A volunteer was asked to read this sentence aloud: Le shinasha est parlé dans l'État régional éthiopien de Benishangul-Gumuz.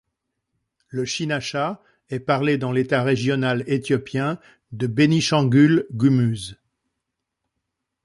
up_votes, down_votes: 2, 1